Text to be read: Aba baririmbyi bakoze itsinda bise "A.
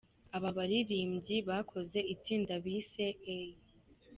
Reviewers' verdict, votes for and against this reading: accepted, 2, 0